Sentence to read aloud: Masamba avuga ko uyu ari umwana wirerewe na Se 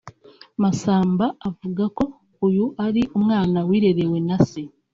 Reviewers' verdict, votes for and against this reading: accepted, 2, 0